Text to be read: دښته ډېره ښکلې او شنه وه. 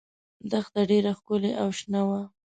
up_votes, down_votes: 2, 0